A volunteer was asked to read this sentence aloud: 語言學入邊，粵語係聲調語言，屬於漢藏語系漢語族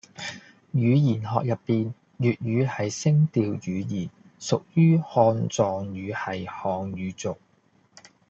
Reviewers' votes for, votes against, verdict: 2, 0, accepted